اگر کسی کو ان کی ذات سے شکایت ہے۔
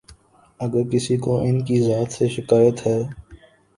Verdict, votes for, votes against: accepted, 2, 0